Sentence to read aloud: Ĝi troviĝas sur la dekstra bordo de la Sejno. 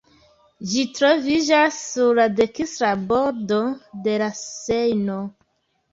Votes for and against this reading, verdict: 1, 2, rejected